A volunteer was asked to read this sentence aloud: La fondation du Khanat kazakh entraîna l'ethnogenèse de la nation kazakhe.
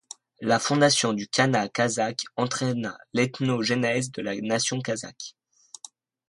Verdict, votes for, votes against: rejected, 0, 2